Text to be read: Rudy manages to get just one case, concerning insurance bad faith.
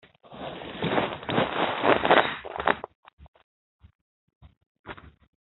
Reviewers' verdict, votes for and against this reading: rejected, 0, 2